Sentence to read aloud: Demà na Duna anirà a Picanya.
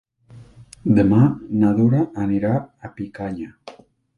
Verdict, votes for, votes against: rejected, 1, 2